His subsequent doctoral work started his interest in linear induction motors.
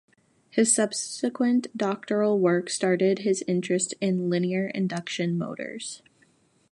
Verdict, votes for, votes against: accepted, 2, 0